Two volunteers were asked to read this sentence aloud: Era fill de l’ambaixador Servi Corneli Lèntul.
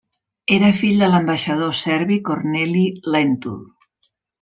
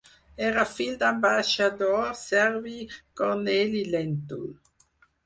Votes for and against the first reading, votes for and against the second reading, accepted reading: 2, 0, 0, 4, first